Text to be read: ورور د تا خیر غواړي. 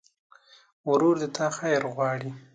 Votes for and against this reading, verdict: 2, 0, accepted